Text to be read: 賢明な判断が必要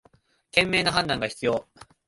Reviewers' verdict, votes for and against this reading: accepted, 3, 0